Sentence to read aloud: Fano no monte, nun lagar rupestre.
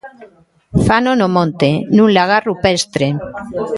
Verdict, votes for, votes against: rejected, 1, 2